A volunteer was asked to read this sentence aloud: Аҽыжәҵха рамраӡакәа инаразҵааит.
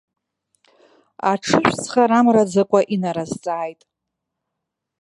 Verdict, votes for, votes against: rejected, 0, 2